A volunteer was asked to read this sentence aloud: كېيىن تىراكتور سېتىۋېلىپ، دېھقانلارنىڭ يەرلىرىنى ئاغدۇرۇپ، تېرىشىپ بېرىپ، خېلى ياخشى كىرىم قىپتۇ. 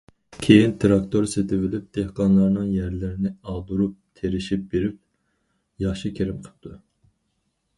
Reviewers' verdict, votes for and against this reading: rejected, 0, 4